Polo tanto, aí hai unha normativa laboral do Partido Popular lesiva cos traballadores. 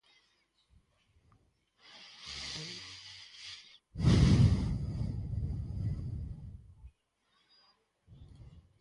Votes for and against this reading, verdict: 0, 4, rejected